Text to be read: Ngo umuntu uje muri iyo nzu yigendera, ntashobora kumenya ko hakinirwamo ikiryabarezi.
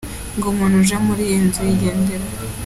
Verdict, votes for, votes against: rejected, 0, 2